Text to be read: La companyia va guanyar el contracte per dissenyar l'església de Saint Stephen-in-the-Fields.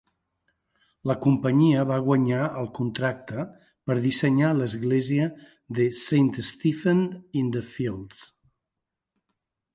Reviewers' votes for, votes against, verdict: 2, 0, accepted